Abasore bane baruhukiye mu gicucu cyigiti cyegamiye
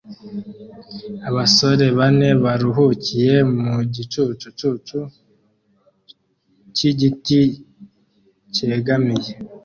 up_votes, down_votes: 1, 2